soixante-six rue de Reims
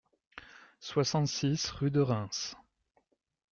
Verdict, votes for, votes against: accepted, 2, 0